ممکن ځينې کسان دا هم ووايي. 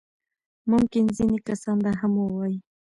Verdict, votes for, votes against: rejected, 0, 2